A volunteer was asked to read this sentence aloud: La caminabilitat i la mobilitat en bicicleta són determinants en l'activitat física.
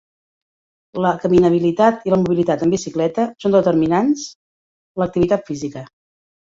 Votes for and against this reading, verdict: 0, 2, rejected